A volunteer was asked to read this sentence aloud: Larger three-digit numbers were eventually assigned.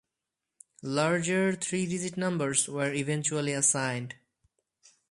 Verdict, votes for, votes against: accepted, 2, 0